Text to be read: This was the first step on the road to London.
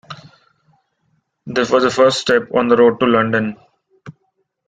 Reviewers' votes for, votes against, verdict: 2, 0, accepted